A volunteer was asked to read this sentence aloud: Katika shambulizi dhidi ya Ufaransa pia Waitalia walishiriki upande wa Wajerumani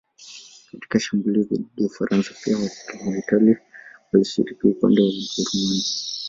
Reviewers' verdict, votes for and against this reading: rejected, 1, 2